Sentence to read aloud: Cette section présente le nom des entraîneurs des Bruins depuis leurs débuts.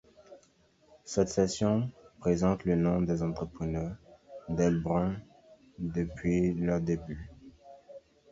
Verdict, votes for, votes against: rejected, 0, 2